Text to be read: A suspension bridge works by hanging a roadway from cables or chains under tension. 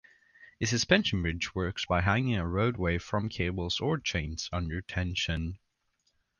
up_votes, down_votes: 2, 0